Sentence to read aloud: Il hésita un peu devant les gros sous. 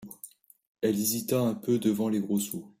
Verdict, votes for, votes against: rejected, 0, 2